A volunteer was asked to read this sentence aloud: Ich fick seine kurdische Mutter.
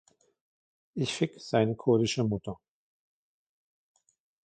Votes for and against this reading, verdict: 0, 2, rejected